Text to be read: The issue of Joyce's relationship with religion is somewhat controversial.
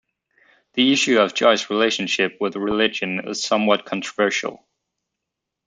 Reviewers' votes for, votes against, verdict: 0, 2, rejected